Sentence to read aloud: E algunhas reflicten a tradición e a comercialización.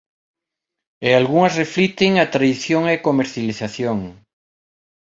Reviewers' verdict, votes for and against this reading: accepted, 2, 0